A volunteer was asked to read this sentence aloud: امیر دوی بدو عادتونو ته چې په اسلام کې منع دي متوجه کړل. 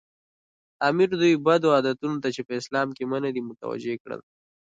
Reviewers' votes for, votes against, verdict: 0, 2, rejected